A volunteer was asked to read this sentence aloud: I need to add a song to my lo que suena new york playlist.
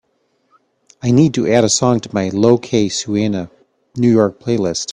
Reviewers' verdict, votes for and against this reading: accepted, 2, 0